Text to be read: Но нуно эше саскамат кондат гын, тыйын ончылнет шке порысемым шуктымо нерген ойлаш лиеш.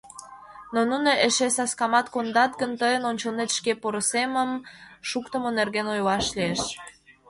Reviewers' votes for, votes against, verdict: 0, 2, rejected